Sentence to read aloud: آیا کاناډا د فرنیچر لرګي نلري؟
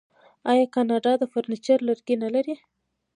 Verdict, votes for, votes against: accepted, 2, 0